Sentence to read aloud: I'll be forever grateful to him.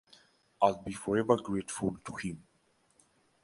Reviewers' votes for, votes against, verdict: 2, 0, accepted